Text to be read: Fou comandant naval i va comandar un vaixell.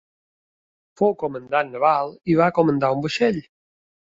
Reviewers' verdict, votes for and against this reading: accepted, 2, 0